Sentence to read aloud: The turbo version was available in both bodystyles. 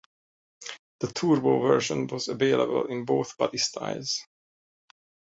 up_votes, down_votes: 0, 2